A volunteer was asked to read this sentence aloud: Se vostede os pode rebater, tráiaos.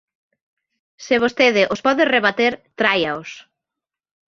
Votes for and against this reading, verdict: 2, 0, accepted